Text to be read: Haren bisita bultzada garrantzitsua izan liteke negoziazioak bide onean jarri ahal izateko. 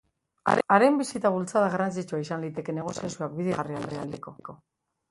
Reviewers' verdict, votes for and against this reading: rejected, 0, 2